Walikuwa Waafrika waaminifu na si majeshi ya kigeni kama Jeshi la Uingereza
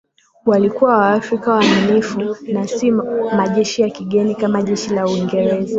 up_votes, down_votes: 2, 0